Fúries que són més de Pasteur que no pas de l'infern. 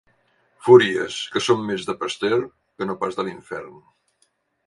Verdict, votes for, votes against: accepted, 2, 0